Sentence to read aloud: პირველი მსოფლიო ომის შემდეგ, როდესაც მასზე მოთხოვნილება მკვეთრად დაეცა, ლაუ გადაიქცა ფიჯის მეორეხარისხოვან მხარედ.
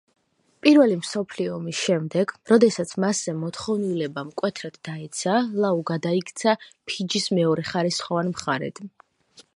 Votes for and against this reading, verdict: 2, 1, accepted